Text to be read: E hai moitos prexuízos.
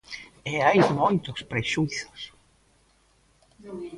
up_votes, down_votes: 0, 2